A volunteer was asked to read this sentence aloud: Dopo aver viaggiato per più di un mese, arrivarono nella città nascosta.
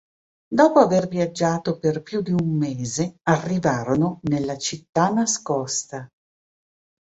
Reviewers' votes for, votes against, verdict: 2, 0, accepted